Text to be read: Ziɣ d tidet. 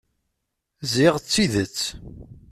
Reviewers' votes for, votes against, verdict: 2, 0, accepted